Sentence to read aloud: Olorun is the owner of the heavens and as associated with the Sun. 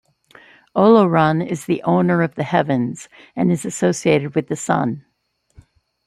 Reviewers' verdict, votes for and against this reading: rejected, 1, 2